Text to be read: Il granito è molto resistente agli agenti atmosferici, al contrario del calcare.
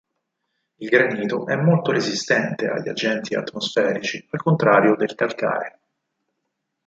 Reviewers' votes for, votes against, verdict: 4, 0, accepted